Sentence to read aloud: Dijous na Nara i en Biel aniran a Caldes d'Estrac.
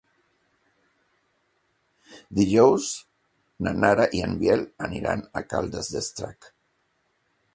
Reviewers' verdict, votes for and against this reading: accepted, 2, 0